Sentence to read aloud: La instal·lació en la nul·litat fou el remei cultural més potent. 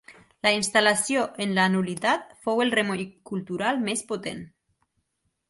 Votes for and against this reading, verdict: 1, 2, rejected